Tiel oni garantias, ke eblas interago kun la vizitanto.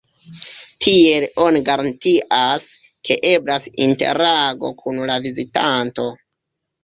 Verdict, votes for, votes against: accepted, 2, 0